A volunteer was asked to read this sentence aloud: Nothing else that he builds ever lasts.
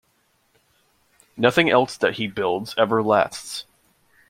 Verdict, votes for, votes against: accepted, 2, 0